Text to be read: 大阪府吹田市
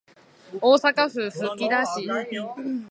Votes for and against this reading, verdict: 0, 2, rejected